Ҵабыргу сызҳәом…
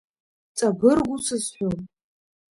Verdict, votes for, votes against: accepted, 2, 0